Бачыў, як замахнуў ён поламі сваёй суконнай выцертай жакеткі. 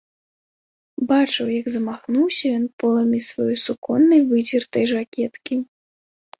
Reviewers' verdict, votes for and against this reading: rejected, 1, 2